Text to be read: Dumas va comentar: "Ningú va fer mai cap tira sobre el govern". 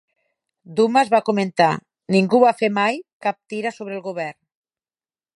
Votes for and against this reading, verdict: 6, 0, accepted